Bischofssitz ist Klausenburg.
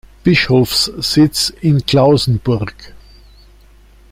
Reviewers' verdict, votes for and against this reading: rejected, 0, 2